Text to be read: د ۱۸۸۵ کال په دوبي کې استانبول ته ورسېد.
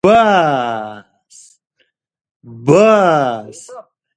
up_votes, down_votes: 0, 2